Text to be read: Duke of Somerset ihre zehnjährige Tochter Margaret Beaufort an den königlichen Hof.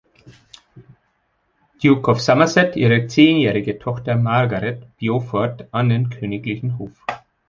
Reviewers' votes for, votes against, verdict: 2, 0, accepted